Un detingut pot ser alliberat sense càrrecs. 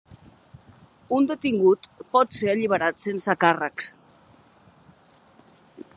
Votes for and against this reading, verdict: 4, 0, accepted